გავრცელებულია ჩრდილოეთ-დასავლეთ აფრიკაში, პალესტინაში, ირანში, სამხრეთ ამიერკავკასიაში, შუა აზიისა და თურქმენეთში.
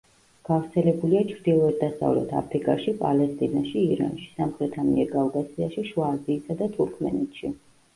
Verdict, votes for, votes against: rejected, 1, 2